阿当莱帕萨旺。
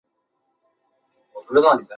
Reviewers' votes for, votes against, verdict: 0, 3, rejected